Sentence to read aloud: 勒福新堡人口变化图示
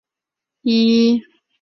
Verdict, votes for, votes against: rejected, 1, 2